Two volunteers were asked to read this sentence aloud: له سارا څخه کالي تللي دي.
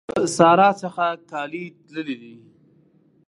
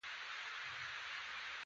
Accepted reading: first